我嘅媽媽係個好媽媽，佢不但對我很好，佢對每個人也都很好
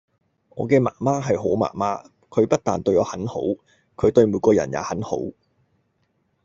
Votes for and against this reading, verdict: 0, 2, rejected